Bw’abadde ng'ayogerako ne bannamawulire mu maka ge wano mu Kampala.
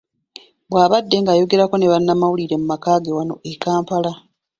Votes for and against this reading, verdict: 2, 1, accepted